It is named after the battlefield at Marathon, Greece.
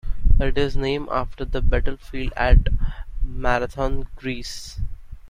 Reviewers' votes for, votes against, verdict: 2, 0, accepted